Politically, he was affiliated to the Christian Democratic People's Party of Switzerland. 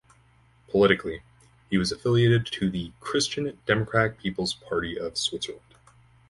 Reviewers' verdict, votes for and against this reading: rejected, 2, 4